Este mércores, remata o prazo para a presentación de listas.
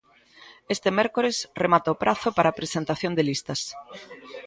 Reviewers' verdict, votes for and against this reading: rejected, 1, 2